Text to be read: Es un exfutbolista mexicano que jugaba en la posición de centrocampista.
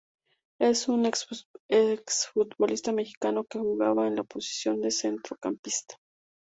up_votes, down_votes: 0, 2